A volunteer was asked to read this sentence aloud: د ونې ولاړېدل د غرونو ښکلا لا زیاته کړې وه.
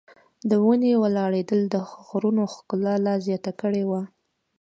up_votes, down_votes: 2, 0